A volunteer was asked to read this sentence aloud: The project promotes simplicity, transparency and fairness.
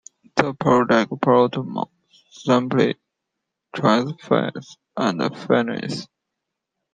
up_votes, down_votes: 0, 2